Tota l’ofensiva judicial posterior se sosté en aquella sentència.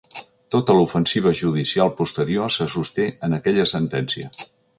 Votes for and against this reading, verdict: 2, 0, accepted